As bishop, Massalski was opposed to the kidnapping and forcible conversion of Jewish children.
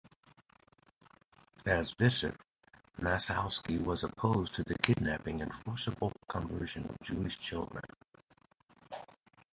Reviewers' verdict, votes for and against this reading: accepted, 2, 0